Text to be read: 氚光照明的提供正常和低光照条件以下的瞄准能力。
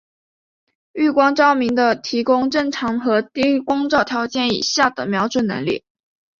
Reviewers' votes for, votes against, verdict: 1, 2, rejected